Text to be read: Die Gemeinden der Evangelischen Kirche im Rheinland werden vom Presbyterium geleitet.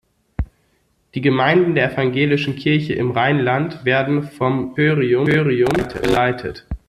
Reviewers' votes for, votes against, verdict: 0, 2, rejected